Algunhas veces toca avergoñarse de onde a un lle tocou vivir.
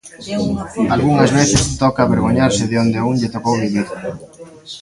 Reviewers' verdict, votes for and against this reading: rejected, 0, 2